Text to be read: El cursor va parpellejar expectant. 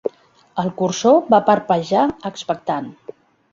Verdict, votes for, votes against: rejected, 1, 2